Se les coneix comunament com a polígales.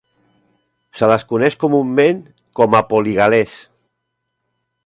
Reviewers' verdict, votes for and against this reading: rejected, 0, 3